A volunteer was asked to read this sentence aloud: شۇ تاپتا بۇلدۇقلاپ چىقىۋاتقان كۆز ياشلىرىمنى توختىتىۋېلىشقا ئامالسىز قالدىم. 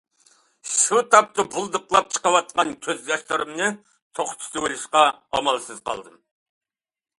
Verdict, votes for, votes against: accepted, 2, 0